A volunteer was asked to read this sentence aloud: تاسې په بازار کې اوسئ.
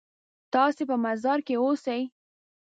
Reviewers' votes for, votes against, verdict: 0, 2, rejected